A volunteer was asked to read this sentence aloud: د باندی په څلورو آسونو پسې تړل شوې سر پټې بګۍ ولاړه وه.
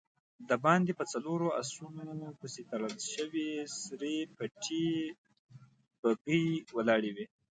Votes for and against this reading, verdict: 2, 0, accepted